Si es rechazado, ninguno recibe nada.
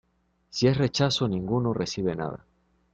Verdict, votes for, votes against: rejected, 0, 2